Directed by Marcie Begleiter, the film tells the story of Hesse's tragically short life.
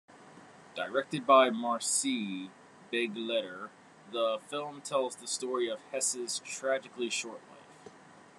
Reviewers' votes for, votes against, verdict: 0, 2, rejected